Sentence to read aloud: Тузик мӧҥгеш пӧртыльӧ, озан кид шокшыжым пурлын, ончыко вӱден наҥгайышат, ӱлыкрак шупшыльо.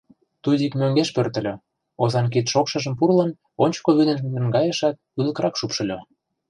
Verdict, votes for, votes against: rejected, 1, 2